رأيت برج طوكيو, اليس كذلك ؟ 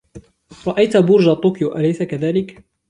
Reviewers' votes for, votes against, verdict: 2, 0, accepted